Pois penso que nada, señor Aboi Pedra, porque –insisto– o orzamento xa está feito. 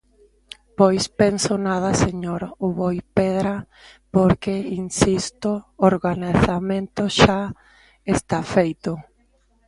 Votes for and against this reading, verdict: 0, 2, rejected